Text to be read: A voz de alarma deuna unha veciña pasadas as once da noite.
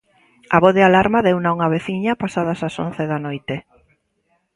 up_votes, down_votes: 2, 0